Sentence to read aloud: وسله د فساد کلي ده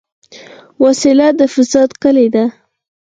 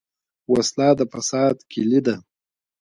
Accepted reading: second